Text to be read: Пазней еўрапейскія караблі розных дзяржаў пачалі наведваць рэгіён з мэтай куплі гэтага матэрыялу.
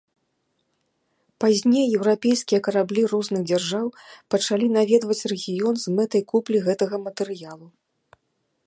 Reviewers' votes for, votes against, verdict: 2, 0, accepted